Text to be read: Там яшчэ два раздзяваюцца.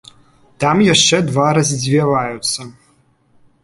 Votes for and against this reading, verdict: 0, 2, rejected